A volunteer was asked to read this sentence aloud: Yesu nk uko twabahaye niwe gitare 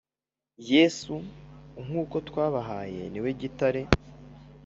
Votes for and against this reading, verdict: 3, 0, accepted